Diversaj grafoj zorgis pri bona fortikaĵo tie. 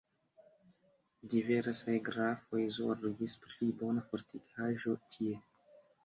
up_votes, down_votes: 2, 0